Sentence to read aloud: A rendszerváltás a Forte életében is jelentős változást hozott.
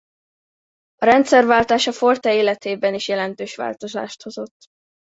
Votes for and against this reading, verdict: 2, 0, accepted